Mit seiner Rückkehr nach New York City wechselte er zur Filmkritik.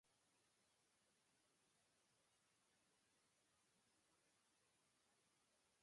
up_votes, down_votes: 0, 2